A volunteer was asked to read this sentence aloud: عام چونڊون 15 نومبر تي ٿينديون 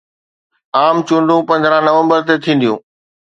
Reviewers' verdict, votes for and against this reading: rejected, 0, 2